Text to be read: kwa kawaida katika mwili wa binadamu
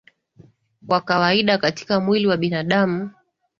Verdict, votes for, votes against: accepted, 6, 0